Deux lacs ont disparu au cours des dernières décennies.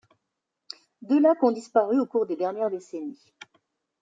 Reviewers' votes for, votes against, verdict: 1, 2, rejected